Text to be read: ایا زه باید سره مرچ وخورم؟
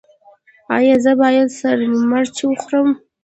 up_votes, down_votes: 0, 2